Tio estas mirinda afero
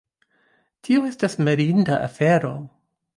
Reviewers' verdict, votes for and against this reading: accepted, 3, 2